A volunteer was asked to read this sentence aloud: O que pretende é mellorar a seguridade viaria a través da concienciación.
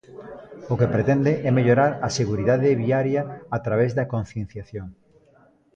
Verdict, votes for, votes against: accepted, 2, 0